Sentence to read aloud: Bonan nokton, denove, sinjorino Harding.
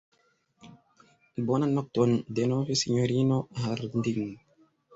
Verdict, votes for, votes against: rejected, 2, 3